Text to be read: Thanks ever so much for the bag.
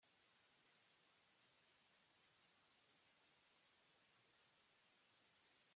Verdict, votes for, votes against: rejected, 0, 2